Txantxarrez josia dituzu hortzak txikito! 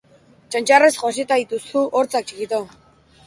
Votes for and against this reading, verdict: 1, 2, rejected